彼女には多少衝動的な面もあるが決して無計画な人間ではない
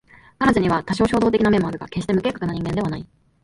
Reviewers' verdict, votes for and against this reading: rejected, 0, 2